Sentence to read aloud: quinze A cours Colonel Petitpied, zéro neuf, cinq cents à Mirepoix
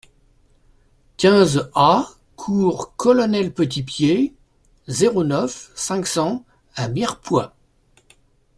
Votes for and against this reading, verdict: 2, 0, accepted